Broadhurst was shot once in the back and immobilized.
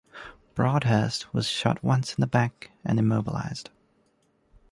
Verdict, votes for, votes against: accepted, 2, 0